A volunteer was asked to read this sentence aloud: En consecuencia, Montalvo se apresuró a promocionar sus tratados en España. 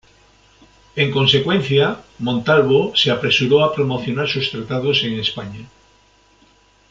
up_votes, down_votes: 2, 0